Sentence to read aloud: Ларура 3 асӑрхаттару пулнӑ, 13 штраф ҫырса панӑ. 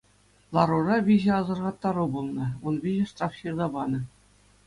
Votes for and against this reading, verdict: 0, 2, rejected